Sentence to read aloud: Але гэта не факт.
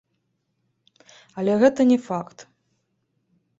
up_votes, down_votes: 1, 2